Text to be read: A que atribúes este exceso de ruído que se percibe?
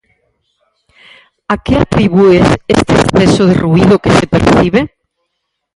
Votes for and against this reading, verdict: 2, 4, rejected